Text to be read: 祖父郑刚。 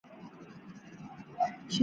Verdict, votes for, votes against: rejected, 0, 2